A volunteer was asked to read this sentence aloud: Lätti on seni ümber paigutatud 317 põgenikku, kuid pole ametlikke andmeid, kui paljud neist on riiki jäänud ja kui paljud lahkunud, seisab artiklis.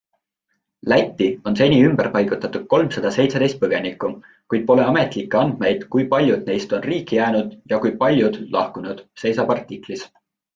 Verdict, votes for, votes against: rejected, 0, 2